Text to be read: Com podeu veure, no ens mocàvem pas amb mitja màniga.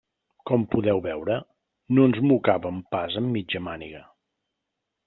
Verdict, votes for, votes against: accepted, 3, 1